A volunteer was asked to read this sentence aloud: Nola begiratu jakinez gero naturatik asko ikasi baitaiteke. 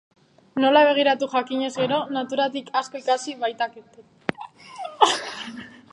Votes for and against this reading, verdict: 0, 3, rejected